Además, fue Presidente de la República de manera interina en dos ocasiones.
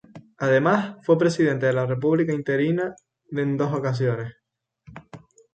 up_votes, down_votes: 0, 2